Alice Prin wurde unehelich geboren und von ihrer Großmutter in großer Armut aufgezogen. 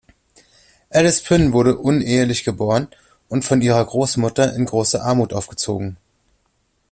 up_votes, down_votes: 2, 0